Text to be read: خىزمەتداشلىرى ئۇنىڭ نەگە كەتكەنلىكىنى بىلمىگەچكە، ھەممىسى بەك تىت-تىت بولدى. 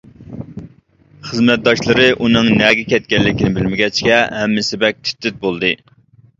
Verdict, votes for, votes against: accepted, 2, 0